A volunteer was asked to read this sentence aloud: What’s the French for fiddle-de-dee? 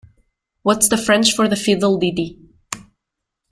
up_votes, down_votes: 0, 2